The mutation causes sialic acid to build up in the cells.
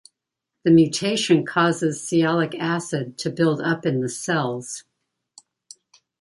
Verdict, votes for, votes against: accepted, 2, 0